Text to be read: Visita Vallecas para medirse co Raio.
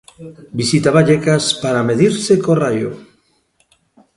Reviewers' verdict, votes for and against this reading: rejected, 1, 2